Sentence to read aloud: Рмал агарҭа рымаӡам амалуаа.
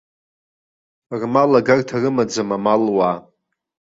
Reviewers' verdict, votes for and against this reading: accepted, 2, 0